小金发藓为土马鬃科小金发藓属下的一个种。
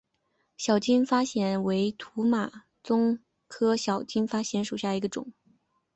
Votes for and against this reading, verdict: 3, 1, accepted